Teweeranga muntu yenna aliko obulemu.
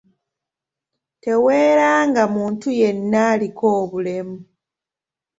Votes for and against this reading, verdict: 2, 0, accepted